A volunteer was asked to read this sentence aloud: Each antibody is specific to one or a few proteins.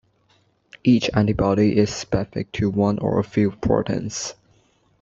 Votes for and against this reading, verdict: 0, 2, rejected